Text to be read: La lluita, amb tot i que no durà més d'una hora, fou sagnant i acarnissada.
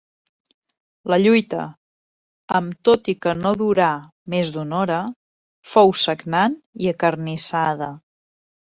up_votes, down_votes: 3, 0